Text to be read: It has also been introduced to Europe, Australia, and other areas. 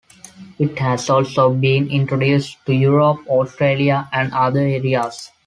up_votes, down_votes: 2, 0